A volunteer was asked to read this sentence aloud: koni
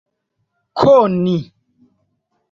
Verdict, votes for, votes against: accepted, 2, 0